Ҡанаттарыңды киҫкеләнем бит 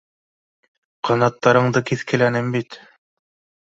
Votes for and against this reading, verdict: 2, 0, accepted